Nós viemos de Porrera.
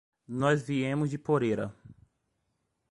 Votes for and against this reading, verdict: 1, 2, rejected